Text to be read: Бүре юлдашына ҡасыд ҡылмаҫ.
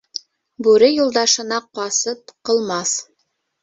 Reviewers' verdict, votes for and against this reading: rejected, 0, 2